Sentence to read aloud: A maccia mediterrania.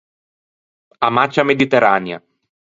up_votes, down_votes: 0, 4